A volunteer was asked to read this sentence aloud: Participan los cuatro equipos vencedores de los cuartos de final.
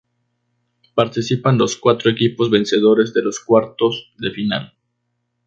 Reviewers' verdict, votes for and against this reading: accepted, 2, 0